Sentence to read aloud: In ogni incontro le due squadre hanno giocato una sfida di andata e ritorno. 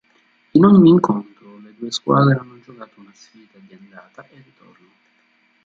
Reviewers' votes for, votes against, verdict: 0, 2, rejected